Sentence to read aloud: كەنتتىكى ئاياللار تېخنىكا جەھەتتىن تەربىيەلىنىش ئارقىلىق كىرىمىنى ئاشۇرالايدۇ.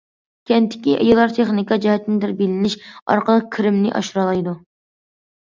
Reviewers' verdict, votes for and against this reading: rejected, 0, 2